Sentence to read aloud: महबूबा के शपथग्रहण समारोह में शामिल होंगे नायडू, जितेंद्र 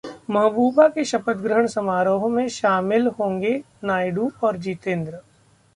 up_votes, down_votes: 2, 1